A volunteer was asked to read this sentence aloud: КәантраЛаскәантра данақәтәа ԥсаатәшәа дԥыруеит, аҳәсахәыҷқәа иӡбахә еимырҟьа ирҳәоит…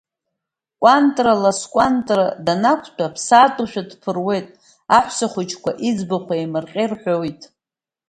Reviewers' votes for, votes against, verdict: 2, 0, accepted